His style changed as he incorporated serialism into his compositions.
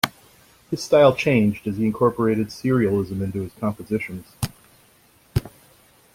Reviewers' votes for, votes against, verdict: 2, 0, accepted